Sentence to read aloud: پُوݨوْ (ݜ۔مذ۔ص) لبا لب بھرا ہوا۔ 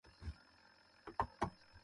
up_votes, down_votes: 0, 2